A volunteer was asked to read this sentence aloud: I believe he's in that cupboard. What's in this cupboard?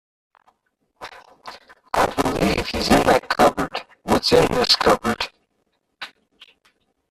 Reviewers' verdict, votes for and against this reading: rejected, 0, 2